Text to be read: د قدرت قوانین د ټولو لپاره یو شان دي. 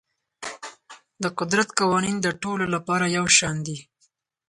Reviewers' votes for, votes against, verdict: 0, 4, rejected